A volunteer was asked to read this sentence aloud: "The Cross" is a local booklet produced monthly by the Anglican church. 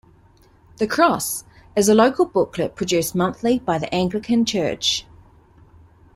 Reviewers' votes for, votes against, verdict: 2, 0, accepted